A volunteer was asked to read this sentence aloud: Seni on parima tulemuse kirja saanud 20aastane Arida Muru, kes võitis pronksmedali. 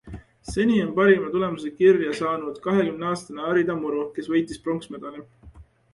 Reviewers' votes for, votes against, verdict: 0, 2, rejected